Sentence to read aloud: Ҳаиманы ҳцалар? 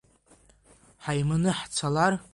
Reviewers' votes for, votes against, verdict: 2, 0, accepted